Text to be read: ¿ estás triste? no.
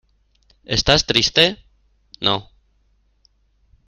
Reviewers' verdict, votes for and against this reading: accepted, 2, 0